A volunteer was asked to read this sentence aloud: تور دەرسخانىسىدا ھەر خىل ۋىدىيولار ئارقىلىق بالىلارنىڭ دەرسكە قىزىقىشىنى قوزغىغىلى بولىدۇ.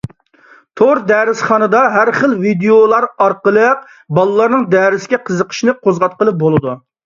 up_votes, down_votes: 0, 2